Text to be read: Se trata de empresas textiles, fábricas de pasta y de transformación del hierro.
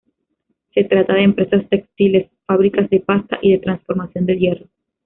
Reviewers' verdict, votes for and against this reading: accepted, 2, 0